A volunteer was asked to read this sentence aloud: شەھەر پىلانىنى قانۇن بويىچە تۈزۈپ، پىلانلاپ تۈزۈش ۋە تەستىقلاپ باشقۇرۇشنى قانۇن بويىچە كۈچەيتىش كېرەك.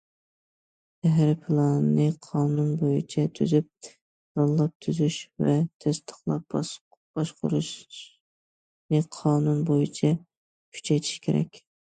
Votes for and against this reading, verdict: 0, 2, rejected